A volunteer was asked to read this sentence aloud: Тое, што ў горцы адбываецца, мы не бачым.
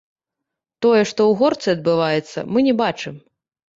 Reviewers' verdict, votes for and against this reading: rejected, 1, 2